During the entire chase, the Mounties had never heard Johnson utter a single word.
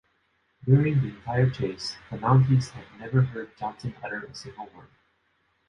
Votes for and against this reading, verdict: 1, 3, rejected